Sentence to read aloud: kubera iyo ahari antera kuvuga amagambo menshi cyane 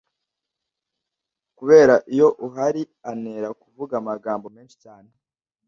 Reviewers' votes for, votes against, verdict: 0, 2, rejected